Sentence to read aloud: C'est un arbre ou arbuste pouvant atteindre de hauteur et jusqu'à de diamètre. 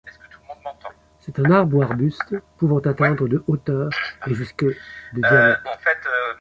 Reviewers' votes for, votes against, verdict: 1, 2, rejected